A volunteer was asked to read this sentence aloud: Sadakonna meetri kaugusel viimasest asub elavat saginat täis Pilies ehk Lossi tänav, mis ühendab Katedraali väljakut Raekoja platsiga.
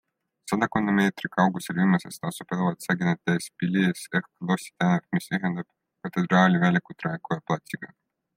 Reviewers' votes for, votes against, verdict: 0, 2, rejected